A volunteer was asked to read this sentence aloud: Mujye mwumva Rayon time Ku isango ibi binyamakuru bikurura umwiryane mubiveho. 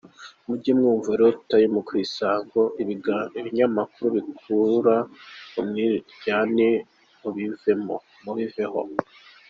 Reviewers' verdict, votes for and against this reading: rejected, 0, 2